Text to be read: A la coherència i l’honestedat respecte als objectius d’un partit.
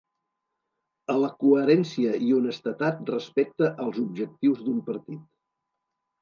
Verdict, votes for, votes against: rejected, 1, 2